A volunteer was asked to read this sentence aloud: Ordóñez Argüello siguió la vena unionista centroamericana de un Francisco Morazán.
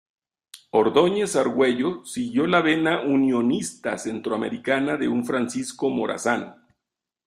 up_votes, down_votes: 2, 0